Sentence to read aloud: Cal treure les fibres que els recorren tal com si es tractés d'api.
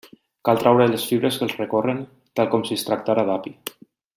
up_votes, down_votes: 1, 2